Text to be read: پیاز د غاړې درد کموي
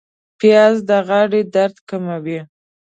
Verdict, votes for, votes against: accepted, 2, 0